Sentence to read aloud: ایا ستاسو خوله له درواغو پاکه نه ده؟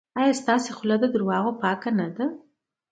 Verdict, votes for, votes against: accepted, 2, 0